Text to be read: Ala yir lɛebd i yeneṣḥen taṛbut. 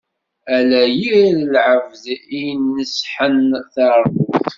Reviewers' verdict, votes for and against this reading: rejected, 0, 2